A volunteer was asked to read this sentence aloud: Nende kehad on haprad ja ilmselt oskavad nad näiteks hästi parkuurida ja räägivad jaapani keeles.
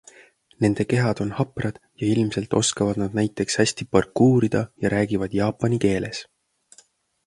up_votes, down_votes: 2, 0